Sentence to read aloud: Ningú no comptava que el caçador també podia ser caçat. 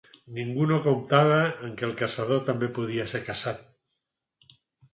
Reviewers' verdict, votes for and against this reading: rejected, 2, 4